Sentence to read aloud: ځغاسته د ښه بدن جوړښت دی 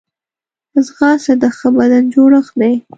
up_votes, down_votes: 2, 0